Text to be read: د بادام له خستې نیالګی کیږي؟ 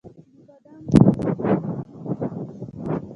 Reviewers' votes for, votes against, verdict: 0, 2, rejected